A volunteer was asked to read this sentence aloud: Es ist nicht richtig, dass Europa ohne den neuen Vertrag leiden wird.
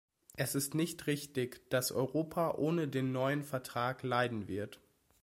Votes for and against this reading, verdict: 2, 0, accepted